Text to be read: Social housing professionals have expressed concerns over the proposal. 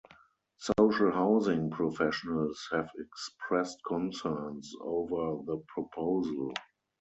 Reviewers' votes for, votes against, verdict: 4, 0, accepted